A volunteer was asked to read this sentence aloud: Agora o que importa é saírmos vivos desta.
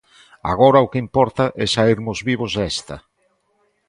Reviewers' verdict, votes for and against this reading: accepted, 2, 0